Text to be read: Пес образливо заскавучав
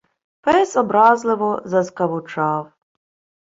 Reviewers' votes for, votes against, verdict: 2, 0, accepted